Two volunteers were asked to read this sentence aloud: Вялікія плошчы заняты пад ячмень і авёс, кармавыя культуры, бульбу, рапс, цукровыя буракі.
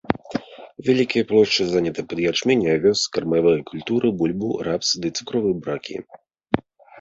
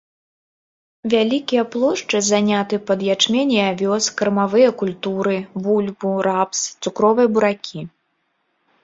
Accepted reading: second